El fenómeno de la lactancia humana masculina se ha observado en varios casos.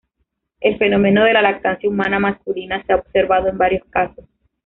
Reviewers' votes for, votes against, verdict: 0, 2, rejected